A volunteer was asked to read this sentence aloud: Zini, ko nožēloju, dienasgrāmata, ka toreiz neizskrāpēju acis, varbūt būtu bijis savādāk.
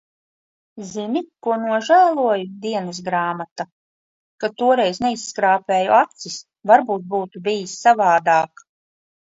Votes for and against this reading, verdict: 2, 0, accepted